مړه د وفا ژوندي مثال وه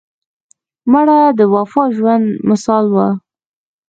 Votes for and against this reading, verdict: 1, 2, rejected